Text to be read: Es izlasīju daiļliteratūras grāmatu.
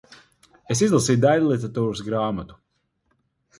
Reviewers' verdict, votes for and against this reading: accepted, 4, 0